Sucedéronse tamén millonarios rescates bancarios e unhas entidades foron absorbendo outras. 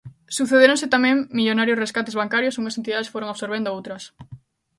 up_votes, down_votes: 2, 0